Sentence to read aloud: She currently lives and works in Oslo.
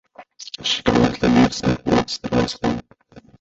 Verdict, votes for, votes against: rejected, 1, 2